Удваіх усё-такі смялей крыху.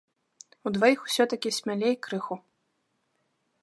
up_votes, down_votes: 2, 0